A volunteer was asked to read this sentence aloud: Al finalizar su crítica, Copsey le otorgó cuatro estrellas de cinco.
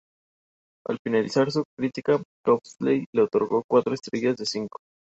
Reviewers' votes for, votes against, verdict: 0, 2, rejected